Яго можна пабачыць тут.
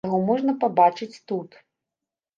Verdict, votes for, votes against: accepted, 2, 0